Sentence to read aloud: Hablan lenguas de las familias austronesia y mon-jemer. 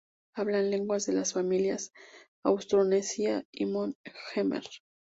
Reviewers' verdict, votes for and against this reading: rejected, 2, 2